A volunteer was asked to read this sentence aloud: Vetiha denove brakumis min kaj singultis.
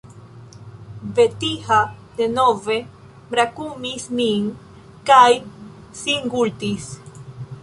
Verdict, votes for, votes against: accepted, 2, 0